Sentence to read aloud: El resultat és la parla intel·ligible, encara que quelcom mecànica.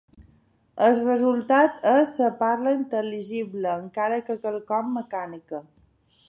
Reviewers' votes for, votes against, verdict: 0, 2, rejected